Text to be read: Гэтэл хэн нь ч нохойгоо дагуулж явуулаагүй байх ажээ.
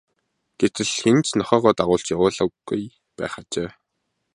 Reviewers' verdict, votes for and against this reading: rejected, 1, 2